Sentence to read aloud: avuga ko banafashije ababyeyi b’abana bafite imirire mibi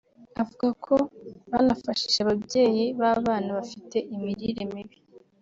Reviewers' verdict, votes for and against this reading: rejected, 1, 2